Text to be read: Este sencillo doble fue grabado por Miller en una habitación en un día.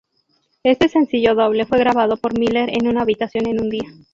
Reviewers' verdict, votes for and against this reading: accepted, 2, 0